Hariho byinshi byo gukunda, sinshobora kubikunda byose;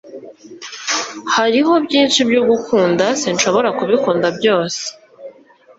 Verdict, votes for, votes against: accepted, 2, 0